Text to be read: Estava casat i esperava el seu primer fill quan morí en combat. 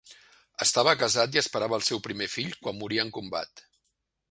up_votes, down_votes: 2, 0